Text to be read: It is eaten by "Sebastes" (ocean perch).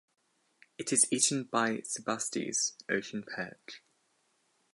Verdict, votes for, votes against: accepted, 4, 0